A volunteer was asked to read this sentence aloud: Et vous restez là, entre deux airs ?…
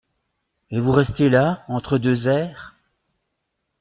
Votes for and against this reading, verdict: 2, 0, accepted